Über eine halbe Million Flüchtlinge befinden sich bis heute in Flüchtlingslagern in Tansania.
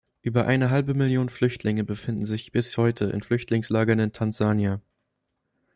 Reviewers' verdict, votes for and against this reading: rejected, 1, 2